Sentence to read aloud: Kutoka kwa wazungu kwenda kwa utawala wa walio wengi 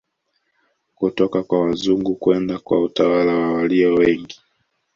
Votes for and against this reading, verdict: 2, 0, accepted